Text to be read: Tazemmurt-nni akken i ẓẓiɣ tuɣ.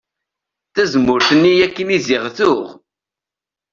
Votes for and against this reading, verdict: 1, 2, rejected